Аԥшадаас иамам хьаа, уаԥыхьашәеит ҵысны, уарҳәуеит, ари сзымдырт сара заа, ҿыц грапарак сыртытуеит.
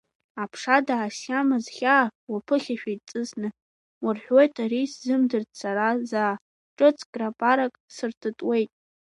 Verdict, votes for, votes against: rejected, 0, 2